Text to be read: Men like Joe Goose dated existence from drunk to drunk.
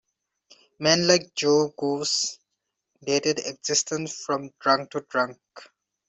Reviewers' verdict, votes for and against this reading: accepted, 2, 1